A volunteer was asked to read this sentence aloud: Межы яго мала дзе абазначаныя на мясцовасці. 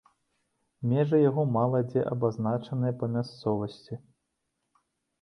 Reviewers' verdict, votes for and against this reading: rejected, 0, 2